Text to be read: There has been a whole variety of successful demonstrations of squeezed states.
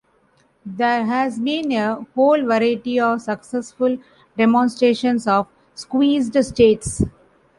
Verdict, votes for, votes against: rejected, 1, 2